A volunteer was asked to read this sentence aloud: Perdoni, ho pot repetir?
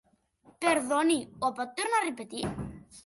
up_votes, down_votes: 0, 2